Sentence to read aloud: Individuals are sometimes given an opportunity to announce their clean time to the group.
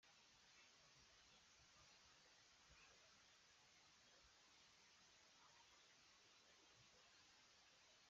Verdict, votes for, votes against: rejected, 0, 3